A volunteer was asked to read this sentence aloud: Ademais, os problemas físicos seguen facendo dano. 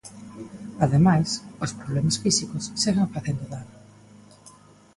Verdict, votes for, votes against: accepted, 2, 1